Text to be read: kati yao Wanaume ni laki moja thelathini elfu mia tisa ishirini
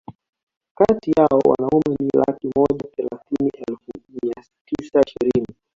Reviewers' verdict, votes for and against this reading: rejected, 1, 2